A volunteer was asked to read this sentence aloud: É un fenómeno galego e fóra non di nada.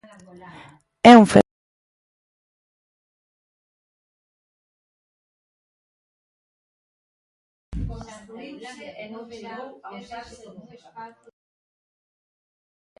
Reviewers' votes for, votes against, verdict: 0, 2, rejected